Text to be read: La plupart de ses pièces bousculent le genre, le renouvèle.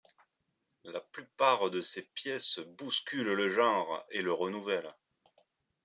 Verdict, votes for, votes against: rejected, 0, 2